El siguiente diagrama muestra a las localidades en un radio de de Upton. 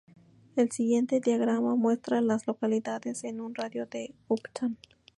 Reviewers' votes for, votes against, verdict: 2, 0, accepted